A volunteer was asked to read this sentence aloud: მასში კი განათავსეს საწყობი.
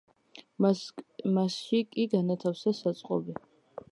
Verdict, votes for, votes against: rejected, 0, 2